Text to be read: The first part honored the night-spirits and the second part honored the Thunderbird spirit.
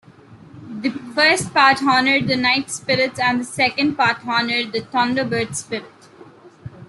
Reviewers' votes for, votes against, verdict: 2, 0, accepted